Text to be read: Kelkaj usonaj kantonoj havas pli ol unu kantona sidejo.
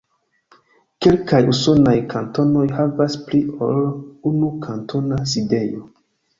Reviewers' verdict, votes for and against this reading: accepted, 2, 0